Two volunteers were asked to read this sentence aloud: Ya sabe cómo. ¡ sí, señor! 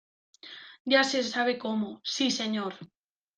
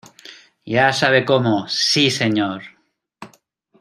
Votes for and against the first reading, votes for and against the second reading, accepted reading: 1, 2, 2, 1, second